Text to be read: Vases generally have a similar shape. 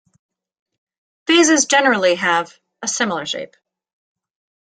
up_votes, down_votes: 2, 0